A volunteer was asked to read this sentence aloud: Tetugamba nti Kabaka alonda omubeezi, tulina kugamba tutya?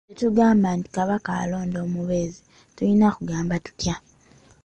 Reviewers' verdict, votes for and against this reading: accepted, 2, 0